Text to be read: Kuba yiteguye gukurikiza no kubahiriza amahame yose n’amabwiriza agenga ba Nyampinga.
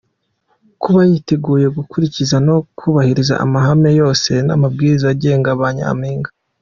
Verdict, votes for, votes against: accepted, 2, 0